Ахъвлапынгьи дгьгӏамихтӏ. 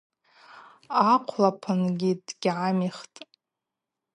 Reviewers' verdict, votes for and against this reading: accepted, 4, 0